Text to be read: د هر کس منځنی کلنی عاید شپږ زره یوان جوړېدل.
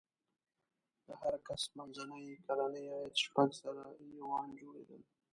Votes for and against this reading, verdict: 0, 2, rejected